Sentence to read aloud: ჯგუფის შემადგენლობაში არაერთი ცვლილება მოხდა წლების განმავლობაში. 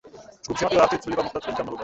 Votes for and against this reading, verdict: 0, 2, rejected